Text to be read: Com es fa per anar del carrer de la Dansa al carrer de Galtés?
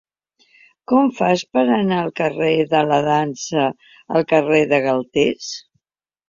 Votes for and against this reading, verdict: 1, 2, rejected